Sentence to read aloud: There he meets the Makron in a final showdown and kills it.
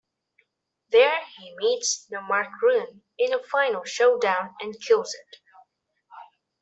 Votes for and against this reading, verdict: 2, 0, accepted